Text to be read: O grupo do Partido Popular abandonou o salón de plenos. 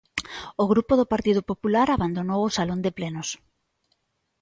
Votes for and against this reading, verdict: 2, 0, accepted